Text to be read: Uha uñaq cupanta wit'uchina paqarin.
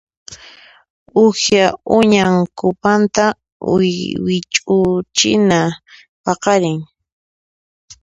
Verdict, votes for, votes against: accepted, 2, 1